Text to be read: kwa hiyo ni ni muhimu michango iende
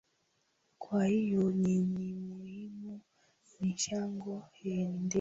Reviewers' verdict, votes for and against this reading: rejected, 2, 3